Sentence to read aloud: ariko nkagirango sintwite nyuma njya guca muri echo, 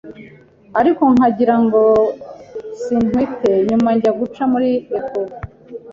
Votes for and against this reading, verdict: 2, 0, accepted